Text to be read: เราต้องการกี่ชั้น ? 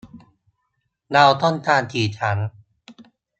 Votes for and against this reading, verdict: 2, 0, accepted